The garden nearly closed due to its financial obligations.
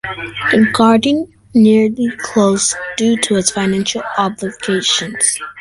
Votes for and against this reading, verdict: 2, 4, rejected